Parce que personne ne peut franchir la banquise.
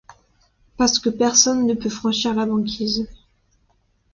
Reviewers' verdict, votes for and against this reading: accepted, 2, 0